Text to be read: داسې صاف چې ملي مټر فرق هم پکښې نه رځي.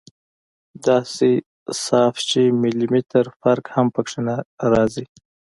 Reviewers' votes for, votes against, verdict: 2, 1, accepted